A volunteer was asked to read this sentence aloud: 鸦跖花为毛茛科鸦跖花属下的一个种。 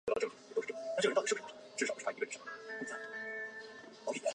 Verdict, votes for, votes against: rejected, 0, 2